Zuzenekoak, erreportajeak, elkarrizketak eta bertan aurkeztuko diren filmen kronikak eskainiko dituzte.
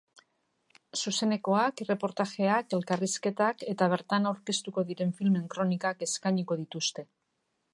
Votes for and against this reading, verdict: 2, 0, accepted